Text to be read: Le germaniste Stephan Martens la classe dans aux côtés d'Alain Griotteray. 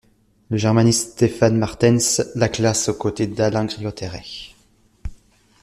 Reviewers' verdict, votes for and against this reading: rejected, 0, 2